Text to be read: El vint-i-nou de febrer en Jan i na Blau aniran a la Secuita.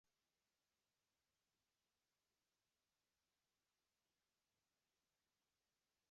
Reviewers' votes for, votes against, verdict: 1, 2, rejected